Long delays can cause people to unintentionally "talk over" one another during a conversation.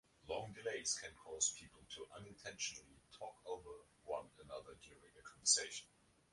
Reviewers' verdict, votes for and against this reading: rejected, 1, 2